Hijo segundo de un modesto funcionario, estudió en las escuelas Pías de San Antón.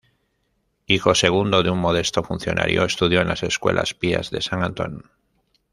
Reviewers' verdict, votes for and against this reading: rejected, 0, 2